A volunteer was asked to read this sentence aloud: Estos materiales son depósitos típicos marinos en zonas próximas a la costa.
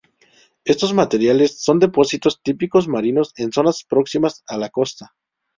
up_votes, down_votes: 2, 0